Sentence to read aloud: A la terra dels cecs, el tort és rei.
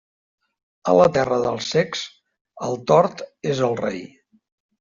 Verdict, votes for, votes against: rejected, 0, 2